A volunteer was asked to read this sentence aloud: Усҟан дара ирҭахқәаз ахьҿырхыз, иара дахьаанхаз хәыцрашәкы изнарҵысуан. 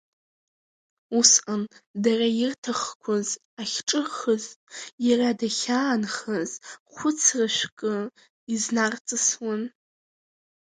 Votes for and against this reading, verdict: 1, 2, rejected